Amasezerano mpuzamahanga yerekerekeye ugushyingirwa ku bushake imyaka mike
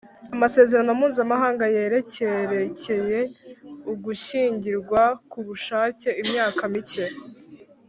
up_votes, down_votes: 2, 0